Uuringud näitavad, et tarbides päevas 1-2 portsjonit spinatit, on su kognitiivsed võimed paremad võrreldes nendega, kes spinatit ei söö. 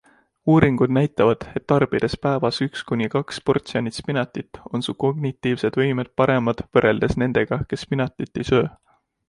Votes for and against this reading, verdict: 0, 2, rejected